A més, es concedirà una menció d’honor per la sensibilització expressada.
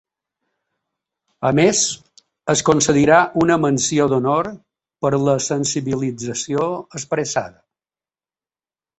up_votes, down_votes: 3, 0